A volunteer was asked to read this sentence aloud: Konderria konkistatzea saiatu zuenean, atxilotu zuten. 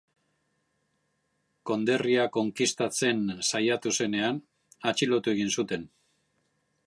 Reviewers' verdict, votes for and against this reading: rejected, 0, 2